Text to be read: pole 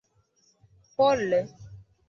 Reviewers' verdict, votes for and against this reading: accepted, 2, 1